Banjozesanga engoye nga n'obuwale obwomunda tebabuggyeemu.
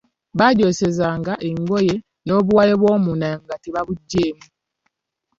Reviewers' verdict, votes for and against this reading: rejected, 1, 2